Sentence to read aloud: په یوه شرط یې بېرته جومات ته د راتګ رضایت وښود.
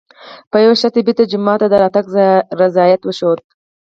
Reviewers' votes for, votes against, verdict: 2, 4, rejected